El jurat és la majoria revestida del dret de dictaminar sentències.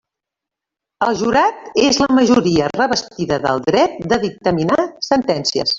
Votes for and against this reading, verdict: 1, 2, rejected